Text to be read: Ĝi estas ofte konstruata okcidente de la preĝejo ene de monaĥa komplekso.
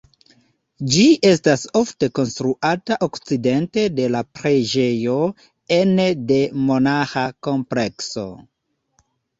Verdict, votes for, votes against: accepted, 2, 0